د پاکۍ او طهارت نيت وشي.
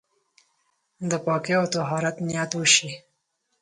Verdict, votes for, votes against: accepted, 4, 0